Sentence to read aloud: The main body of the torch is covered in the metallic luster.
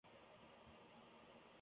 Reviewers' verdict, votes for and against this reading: rejected, 0, 2